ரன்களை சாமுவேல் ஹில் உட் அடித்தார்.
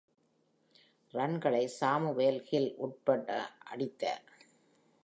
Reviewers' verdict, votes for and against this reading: rejected, 0, 2